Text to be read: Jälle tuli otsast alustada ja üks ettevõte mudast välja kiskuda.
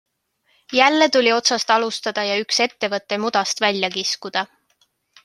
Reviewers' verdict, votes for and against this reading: accepted, 2, 0